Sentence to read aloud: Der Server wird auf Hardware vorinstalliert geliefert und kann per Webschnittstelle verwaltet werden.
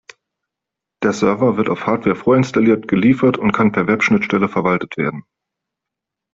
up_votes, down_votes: 2, 0